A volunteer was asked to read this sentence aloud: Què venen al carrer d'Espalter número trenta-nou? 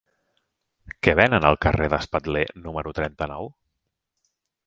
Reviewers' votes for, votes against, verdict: 0, 2, rejected